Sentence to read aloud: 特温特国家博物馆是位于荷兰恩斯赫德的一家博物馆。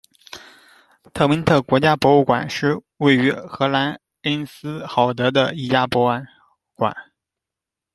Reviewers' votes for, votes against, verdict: 0, 2, rejected